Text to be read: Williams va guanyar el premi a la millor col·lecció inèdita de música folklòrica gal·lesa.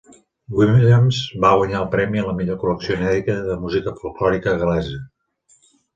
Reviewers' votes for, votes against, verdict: 2, 1, accepted